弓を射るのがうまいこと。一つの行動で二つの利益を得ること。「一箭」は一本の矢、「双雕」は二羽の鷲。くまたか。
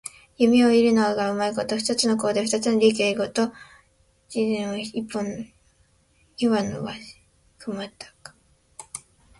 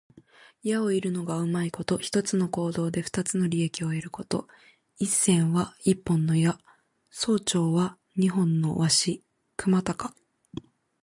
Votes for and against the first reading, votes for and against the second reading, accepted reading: 1, 2, 2, 1, second